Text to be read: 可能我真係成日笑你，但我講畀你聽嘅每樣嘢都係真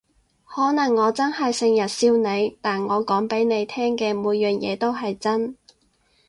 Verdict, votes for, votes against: accepted, 4, 0